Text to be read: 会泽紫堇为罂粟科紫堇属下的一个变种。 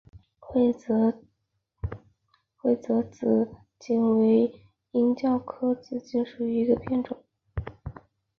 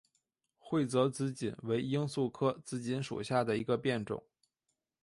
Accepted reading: second